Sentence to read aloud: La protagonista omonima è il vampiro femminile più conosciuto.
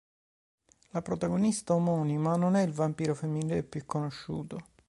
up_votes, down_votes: 0, 2